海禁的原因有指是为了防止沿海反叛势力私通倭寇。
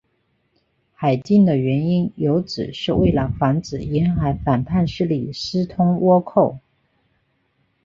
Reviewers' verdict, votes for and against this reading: accepted, 4, 0